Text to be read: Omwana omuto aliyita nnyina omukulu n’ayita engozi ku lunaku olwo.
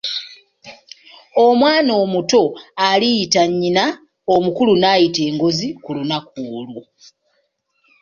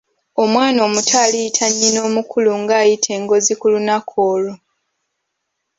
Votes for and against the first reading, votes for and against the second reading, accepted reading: 5, 2, 0, 2, first